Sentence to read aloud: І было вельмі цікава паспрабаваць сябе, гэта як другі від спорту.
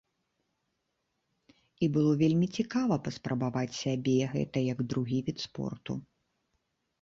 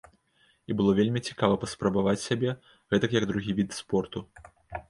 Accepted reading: first